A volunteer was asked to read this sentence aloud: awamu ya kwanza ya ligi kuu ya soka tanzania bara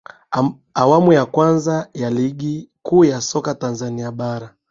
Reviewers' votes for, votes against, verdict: 0, 2, rejected